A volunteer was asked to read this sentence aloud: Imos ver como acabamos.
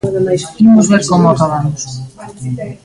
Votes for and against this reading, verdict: 2, 0, accepted